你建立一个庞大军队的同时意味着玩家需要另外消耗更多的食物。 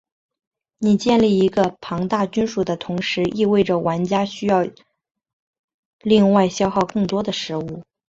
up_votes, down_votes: 2, 0